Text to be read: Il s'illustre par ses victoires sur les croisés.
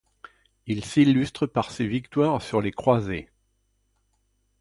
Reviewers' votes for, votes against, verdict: 2, 0, accepted